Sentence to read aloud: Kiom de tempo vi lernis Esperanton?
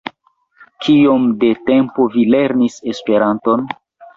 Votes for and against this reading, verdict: 1, 2, rejected